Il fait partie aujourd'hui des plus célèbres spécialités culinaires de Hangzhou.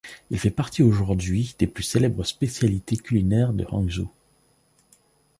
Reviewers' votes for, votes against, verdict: 2, 0, accepted